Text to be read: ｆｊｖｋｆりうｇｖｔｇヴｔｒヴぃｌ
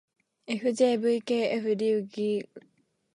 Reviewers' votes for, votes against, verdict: 0, 2, rejected